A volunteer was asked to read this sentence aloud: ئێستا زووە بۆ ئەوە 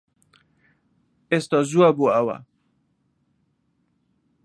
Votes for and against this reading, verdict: 2, 0, accepted